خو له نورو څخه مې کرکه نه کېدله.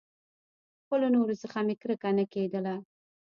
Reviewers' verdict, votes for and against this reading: accepted, 2, 0